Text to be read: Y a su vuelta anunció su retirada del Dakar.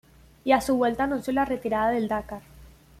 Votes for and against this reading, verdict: 0, 2, rejected